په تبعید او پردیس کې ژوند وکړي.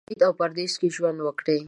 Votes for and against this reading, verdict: 0, 2, rejected